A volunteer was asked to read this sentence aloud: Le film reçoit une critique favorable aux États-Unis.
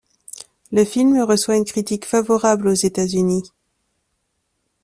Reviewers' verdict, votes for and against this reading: accepted, 2, 0